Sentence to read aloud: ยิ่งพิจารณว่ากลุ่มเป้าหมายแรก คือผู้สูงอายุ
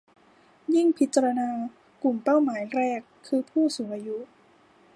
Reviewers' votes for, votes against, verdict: 0, 2, rejected